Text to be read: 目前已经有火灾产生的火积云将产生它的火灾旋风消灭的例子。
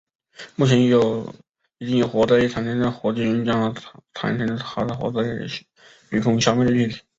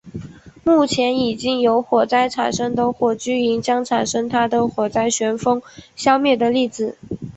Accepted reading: second